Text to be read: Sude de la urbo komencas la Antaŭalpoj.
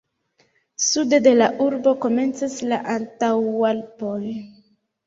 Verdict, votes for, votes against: accepted, 2, 0